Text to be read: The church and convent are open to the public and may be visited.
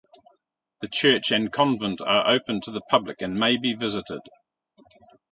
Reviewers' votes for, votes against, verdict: 1, 2, rejected